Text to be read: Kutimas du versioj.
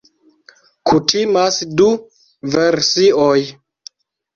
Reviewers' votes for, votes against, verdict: 2, 1, accepted